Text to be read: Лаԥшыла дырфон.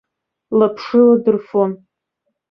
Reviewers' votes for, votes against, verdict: 2, 0, accepted